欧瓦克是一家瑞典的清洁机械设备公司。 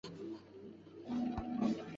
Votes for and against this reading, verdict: 0, 2, rejected